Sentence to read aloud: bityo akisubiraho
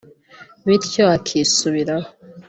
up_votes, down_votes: 2, 0